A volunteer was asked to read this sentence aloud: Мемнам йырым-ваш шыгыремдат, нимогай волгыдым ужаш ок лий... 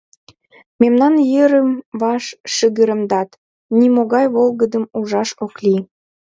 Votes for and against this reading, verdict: 2, 1, accepted